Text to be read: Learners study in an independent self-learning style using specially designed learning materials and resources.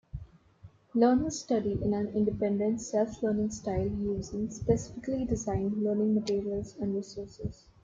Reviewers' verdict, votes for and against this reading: rejected, 0, 2